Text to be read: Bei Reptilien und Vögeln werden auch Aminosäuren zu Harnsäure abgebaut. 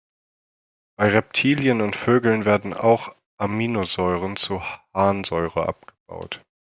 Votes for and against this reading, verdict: 1, 2, rejected